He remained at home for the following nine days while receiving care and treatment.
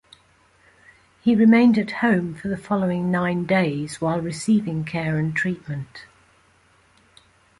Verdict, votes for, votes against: accepted, 4, 0